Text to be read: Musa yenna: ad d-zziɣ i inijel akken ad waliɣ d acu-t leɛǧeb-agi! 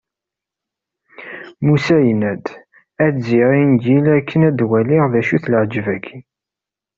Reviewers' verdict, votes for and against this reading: rejected, 1, 2